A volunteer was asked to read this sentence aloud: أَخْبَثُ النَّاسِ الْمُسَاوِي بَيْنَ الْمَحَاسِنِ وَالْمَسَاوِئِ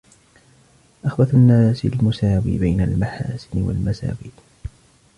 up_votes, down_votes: 1, 2